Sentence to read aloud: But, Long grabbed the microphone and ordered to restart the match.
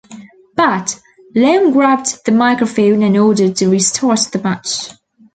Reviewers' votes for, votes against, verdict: 2, 0, accepted